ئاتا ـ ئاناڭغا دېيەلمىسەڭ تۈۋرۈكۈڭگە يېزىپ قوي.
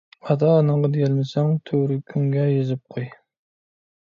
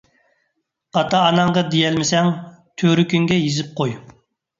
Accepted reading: second